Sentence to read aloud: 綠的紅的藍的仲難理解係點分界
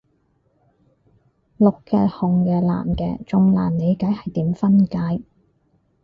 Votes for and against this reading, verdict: 0, 4, rejected